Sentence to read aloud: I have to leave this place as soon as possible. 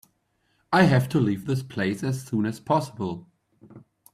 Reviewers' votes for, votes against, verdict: 2, 0, accepted